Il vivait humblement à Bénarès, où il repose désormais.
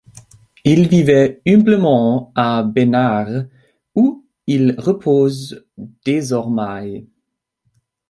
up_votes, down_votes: 0, 2